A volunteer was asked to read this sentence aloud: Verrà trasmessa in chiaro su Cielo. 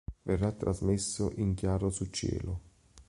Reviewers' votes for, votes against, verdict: 2, 3, rejected